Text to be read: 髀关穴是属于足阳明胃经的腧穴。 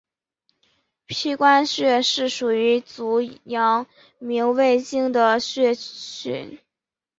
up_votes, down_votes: 1, 2